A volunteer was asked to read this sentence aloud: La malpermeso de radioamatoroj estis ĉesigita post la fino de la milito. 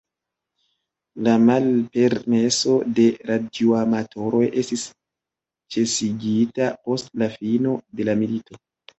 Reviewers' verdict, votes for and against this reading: rejected, 0, 2